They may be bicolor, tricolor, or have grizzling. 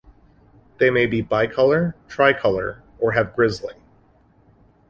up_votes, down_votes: 2, 1